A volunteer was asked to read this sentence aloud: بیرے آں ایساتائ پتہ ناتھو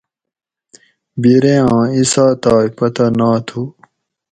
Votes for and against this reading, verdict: 4, 0, accepted